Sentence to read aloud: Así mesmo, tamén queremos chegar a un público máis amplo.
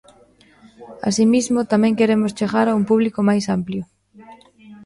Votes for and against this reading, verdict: 0, 2, rejected